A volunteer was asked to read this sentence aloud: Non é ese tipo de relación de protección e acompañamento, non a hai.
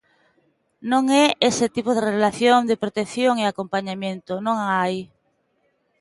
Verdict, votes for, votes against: accepted, 2, 1